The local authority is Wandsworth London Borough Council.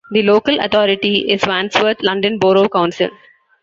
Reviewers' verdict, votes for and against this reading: accepted, 2, 1